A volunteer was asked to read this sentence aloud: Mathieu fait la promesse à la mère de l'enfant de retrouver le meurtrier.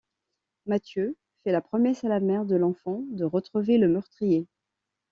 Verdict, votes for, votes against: accepted, 2, 0